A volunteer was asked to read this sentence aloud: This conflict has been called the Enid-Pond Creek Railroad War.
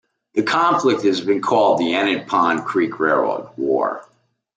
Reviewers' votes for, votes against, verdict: 0, 2, rejected